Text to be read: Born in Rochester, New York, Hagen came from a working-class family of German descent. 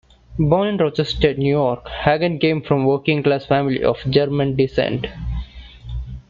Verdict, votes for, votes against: accepted, 2, 0